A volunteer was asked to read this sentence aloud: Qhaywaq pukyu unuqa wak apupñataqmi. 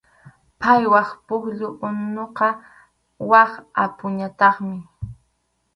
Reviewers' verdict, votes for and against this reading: rejected, 2, 2